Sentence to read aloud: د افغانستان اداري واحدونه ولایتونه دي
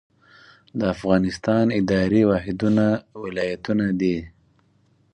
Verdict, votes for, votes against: accepted, 4, 0